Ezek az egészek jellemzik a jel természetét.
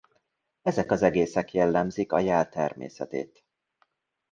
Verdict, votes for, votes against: accepted, 2, 0